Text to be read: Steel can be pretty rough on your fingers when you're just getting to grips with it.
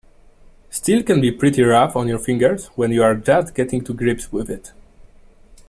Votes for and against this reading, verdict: 2, 1, accepted